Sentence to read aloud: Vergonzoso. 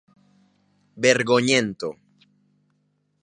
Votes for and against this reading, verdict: 0, 2, rejected